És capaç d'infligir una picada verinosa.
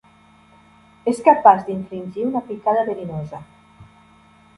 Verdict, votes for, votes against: accepted, 2, 0